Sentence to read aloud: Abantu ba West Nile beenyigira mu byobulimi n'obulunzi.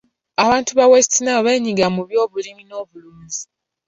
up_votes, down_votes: 1, 3